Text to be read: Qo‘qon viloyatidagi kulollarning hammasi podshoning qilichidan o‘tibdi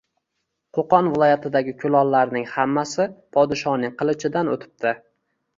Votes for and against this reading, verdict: 2, 0, accepted